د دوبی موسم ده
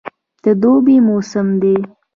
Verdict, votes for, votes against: rejected, 0, 2